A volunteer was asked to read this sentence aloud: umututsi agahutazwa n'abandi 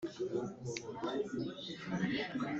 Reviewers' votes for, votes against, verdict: 1, 2, rejected